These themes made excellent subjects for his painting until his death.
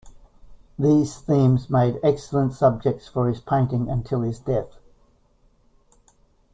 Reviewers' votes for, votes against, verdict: 2, 0, accepted